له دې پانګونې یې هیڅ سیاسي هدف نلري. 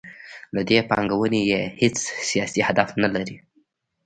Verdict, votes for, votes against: accepted, 2, 0